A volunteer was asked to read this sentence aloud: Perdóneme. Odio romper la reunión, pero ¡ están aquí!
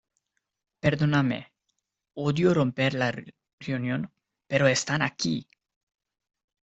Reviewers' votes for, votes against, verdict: 1, 2, rejected